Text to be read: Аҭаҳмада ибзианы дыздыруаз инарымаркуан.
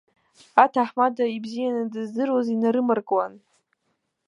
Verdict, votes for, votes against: accepted, 3, 0